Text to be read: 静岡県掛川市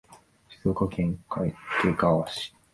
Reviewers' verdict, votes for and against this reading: accepted, 3, 2